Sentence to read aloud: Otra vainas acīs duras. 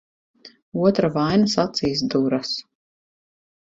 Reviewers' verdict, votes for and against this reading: accepted, 4, 0